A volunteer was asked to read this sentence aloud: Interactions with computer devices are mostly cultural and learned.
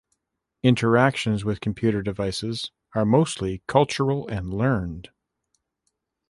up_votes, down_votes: 2, 0